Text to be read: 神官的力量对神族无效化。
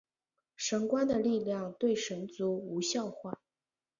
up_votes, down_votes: 2, 1